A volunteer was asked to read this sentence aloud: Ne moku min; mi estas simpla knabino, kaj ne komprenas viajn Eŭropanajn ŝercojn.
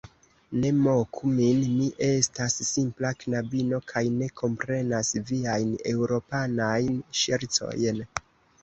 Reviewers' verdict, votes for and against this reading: accepted, 2, 0